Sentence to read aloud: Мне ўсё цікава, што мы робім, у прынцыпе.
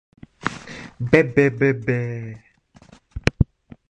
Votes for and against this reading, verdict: 0, 3, rejected